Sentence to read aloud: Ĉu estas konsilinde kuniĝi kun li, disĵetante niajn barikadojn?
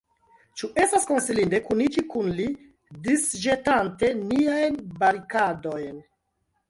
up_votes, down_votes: 2, 0